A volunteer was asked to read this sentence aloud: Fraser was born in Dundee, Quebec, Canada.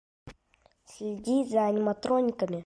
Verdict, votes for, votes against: rejected, 0, 2